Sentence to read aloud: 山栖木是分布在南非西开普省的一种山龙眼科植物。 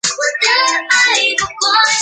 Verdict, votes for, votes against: rejected, 1, 4